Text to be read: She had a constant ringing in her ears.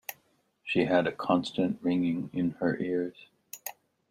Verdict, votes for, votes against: accepted, 2, 0